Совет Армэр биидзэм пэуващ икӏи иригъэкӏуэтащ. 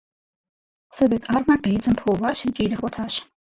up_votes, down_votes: 0, 4